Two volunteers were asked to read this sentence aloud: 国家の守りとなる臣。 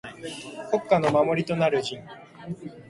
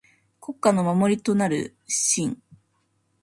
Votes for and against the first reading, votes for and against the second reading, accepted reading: 2, 0, 1, 2, first